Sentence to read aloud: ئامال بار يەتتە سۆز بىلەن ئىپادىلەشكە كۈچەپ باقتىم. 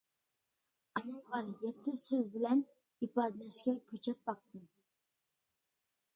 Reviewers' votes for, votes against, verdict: 0, 2, rejected